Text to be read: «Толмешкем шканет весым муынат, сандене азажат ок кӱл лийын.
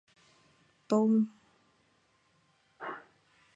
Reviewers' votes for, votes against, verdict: 1, 2, rejected